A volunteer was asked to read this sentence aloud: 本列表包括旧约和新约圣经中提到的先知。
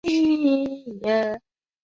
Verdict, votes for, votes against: rejected, 1, 4